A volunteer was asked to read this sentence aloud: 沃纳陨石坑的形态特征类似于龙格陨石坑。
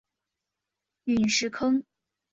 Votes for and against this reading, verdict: 0, 2, rejected